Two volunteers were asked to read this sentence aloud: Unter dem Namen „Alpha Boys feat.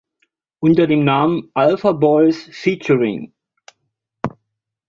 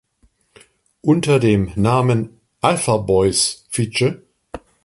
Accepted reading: first